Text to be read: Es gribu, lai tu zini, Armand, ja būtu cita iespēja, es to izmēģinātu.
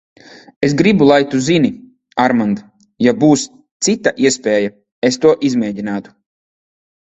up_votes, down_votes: 0, 2